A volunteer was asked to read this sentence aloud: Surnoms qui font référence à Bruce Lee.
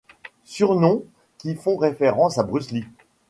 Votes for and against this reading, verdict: 2, 1, accepted